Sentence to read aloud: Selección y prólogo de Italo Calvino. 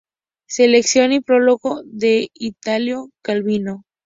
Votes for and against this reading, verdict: 2, 0, accepted